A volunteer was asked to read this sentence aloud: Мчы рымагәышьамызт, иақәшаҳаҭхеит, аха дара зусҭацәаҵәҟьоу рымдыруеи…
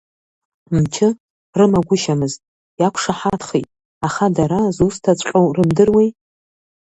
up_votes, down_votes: 1, 2